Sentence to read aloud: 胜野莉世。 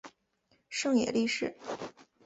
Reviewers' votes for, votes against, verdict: 2, 0, accepted